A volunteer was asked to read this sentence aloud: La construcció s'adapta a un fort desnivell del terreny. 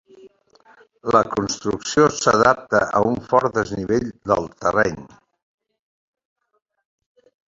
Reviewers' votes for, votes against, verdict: 2, 0, accepted